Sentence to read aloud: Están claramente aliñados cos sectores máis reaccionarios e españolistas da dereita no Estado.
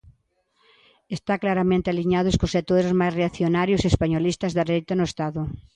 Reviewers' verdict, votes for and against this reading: rejected, 0, 2